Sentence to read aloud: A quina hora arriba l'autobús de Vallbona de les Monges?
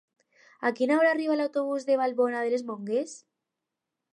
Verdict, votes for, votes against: rejected, 0, 4